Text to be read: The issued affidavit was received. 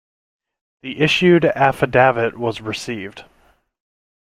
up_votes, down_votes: 0, 2